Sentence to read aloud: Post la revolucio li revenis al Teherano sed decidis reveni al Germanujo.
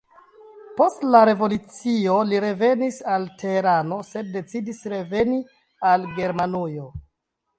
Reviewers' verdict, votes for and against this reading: accepted, 2, 0